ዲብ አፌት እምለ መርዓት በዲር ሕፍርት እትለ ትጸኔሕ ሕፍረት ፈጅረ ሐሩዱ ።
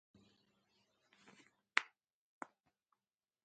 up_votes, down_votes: 0, 2